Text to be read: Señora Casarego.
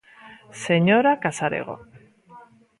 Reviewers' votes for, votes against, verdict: 2, 0, accepted